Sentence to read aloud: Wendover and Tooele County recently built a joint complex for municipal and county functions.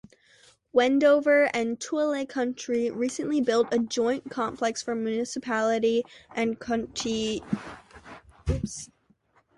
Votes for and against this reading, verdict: 0, 2, rejected